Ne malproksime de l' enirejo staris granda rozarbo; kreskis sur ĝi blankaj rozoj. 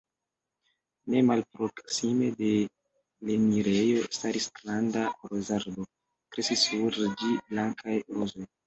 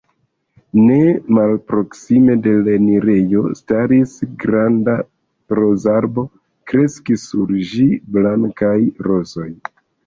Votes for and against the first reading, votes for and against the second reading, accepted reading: 1, 2, 2, 1, second